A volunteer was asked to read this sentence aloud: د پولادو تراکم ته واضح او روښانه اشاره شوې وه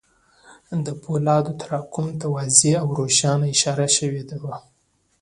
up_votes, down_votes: 2, 1